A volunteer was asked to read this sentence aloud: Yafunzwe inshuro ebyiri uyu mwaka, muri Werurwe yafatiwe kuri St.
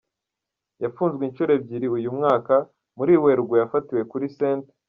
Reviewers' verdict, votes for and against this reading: rejected, 0, 2